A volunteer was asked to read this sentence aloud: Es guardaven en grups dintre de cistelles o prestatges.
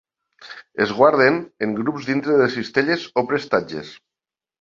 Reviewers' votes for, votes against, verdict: 1, 2, rejected